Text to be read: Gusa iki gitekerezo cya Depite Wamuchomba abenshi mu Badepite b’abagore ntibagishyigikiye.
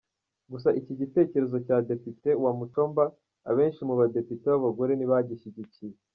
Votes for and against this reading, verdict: 2, 0, accepted